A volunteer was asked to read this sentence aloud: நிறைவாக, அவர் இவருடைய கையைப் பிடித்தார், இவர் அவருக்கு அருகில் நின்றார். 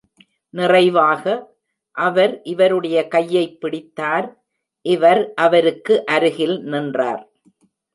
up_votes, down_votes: 0, 2